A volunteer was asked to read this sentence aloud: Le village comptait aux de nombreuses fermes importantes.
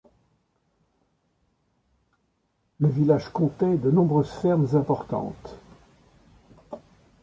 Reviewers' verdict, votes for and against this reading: rejected, 0, 2